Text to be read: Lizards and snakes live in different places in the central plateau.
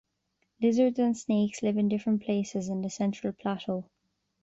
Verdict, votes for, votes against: accepted, 2, 0